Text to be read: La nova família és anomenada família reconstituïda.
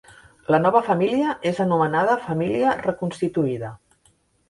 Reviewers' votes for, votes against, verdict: 3, 0, accepted